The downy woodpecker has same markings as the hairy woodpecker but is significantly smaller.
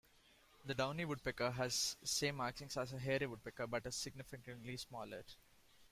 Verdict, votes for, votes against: accepted, 2, 0